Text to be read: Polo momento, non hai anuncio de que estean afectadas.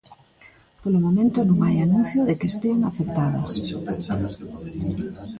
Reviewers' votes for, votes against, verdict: 0, 2, rejected